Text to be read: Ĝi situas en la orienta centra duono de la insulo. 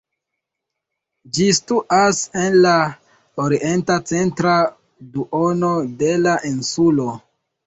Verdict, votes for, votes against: rejected, 1, 2